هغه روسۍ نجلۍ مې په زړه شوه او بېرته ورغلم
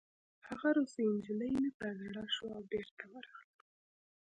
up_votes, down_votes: 2, 0